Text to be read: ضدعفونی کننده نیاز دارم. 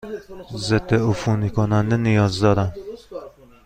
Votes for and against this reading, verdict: 2, 1, accepted